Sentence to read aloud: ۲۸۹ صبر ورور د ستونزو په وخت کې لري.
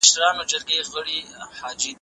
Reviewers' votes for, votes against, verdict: 0, 2, rejected